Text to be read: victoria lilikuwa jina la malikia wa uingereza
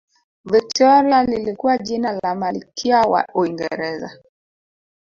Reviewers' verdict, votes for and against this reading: rejected, 0, 2